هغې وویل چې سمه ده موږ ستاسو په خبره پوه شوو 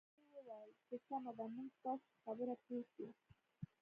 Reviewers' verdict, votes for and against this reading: rejected, 0, 3